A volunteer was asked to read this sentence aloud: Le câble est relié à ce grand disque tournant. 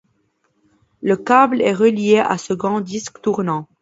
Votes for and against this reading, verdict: 2, 0, accepted